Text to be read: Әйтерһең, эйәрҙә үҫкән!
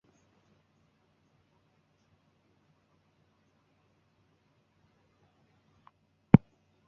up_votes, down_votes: 0, 3